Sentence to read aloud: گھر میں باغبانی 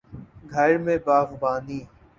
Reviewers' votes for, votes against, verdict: 3, 0, accepted